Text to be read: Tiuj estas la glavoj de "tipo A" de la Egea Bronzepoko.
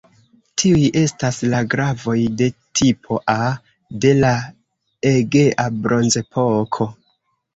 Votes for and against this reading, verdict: 0, 2, rejected